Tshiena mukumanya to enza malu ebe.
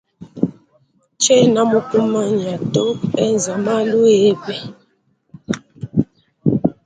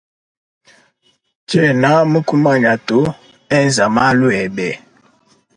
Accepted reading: second